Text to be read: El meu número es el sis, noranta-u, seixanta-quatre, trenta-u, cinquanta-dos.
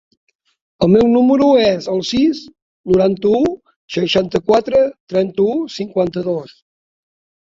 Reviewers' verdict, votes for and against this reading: accepted, 3, 0